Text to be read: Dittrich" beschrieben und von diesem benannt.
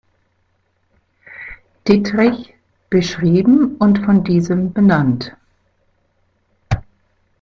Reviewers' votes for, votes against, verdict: 0, 2, rejected